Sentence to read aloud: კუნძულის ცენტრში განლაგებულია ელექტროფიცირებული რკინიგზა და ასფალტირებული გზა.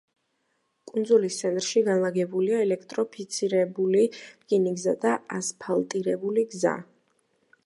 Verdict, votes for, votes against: accepted, 2, 1